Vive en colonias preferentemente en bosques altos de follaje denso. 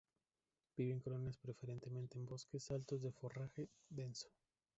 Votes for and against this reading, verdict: 0, 2, rejected